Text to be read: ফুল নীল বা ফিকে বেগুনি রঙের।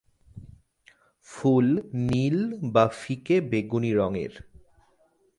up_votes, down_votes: 2, 0